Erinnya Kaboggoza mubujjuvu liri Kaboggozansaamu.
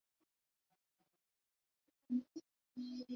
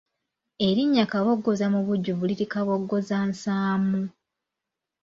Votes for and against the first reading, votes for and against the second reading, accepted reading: 0, 2, 2, 0, second